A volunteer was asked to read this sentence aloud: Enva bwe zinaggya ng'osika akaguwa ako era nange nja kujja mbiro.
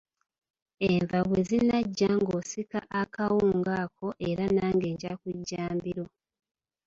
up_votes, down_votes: 0, 2